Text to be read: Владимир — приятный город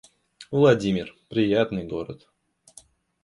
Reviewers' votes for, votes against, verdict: 2, 0, accepted